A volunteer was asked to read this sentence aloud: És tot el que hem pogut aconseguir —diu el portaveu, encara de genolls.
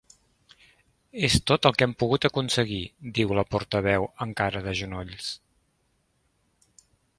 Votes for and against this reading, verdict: 1, 2, rejected